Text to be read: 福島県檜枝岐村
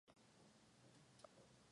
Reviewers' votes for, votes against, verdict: 2, 2, rejected